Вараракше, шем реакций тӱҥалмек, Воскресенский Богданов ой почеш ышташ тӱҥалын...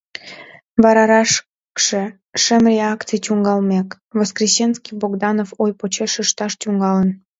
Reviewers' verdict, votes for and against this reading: rejected, 1, 2